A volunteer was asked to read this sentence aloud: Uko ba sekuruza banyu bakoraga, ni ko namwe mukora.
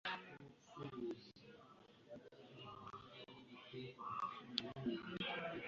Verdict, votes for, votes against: rejected, 1, 2